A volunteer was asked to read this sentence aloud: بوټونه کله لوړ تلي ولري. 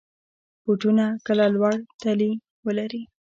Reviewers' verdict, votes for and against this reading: rejected, 0, 2